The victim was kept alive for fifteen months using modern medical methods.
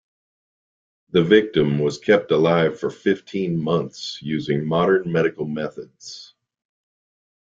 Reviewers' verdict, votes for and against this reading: accepted, 2, 0